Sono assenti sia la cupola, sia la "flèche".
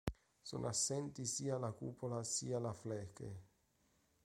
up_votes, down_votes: 1, 2